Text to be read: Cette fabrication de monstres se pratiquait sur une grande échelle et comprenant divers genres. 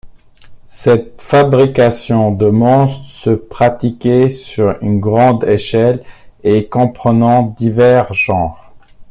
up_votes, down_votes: 2, 0